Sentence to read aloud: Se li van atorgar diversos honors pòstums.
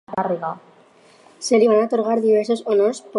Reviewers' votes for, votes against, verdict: 0, 4, rejected